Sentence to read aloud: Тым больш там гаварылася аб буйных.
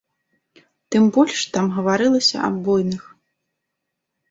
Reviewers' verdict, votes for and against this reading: accepted, 3, 0